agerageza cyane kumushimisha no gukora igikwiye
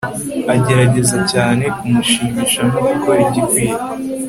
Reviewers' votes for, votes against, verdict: 3, 1, accepted